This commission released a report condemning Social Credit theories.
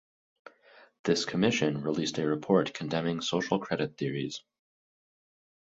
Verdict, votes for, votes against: accepted, 4, 0